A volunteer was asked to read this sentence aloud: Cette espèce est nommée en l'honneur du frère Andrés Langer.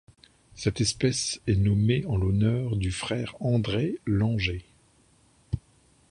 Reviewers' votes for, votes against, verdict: 1, 2, rejected